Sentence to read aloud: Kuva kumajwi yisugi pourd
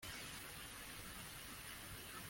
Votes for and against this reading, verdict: 0, 2, rejected